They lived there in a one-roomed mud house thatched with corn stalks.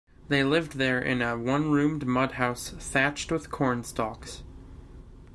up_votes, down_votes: 2, 0